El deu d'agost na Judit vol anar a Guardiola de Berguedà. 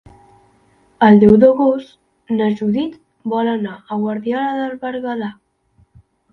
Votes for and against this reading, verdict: 1, 2, rejected